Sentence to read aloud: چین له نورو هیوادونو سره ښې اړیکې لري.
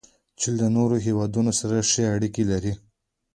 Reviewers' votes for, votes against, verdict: 2, 0, accepted